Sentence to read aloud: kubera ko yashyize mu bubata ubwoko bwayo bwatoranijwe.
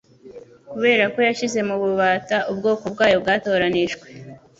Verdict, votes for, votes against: accepted, 2, 0